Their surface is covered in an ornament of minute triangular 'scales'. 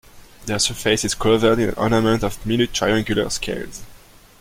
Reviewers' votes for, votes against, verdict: 0, 2, rejected